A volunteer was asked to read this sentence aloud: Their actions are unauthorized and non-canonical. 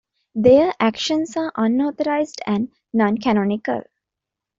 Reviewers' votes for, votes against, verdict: 2, 0, accepted